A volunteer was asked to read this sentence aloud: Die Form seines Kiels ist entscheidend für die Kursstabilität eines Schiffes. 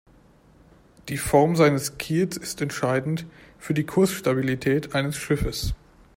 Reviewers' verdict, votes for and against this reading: accepted, 2, 0